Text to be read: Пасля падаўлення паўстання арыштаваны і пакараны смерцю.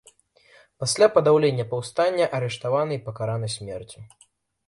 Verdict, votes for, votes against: accepted, 2, 0